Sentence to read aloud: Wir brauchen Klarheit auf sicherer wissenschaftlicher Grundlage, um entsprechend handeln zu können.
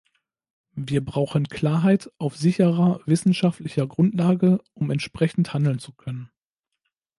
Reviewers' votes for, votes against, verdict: 2, 0, accepted